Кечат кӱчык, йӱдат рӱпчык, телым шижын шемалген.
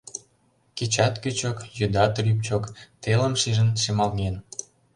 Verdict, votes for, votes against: accepted, 2, 0